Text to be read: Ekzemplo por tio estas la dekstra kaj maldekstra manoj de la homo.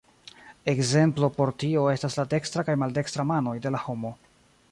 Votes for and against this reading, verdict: 0, 2, rejected